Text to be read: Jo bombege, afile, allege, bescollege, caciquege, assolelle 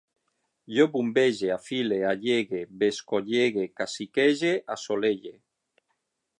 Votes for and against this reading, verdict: 3, 6, rejected